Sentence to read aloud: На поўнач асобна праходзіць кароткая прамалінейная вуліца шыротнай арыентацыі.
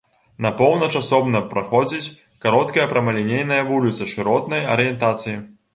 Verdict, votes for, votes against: accepted, 2, 0